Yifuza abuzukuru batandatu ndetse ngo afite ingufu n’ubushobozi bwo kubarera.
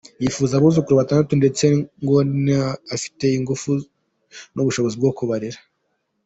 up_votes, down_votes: 1, 2